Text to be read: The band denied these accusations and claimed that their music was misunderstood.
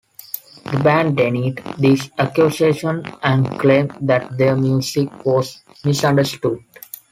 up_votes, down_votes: 0, 2